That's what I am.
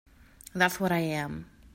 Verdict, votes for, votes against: accepted, 2, 0